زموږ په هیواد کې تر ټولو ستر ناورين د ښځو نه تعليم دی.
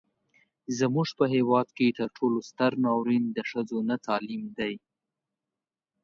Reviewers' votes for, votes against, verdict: 2, 0, accepted